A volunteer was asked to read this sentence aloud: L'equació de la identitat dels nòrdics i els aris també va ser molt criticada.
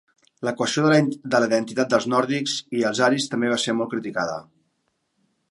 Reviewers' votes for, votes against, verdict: 0, 2, rejected